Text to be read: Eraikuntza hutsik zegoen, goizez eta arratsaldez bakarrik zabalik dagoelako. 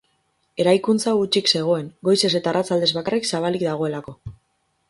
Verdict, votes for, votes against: accepted, 4, 0